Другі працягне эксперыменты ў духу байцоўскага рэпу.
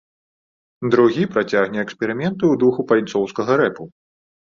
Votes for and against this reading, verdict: 2, 0, accepted